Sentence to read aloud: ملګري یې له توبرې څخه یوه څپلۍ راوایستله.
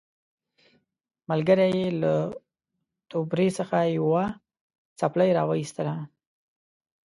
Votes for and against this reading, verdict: 2, 0, accepted